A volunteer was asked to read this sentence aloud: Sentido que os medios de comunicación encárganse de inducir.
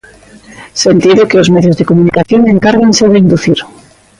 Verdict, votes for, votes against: accepted, 2, 1